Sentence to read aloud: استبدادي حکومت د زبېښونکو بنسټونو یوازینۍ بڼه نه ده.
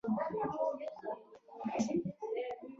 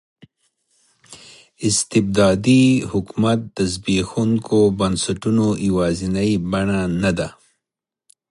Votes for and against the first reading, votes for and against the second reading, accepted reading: 1, 2, 2, 0, second